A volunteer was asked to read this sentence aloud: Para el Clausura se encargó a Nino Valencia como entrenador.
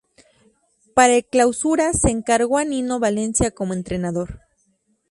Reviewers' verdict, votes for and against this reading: rejected, 2, 2